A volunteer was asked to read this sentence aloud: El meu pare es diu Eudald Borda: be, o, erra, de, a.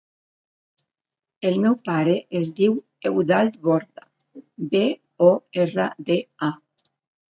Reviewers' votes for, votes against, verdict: 2, 0, accepted